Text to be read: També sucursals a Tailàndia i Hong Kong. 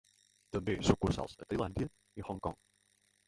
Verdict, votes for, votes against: accepted, 2, 1